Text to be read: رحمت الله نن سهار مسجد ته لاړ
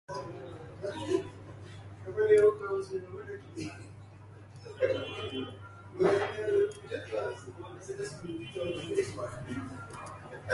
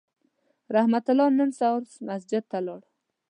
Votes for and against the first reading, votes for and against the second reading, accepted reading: 0, 2, 2, 0, second